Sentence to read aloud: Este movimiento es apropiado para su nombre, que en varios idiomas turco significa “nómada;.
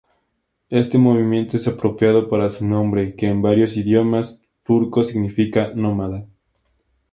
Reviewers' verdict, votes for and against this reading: accepted, 2, 0